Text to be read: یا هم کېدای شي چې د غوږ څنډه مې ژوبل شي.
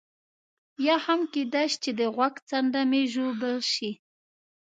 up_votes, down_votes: 2, 0